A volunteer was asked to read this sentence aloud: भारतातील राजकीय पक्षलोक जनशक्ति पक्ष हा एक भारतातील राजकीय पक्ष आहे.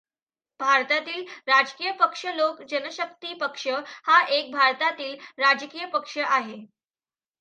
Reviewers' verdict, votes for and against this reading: accepted, 2, 0